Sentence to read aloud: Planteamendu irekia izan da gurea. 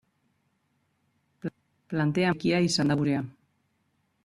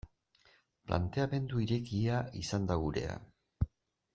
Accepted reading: second